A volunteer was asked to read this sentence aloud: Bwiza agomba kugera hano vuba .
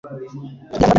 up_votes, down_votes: 1, 2